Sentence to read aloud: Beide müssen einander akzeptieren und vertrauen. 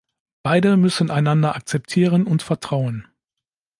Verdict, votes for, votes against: accepted, 2, 0